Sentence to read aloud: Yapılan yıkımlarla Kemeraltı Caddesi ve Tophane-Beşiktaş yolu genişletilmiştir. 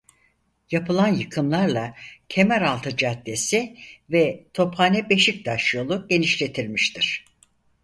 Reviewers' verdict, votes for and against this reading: accepted, 4, 0